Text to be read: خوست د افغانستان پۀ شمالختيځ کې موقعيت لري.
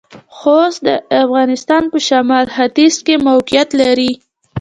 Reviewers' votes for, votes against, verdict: 0, 2, rejected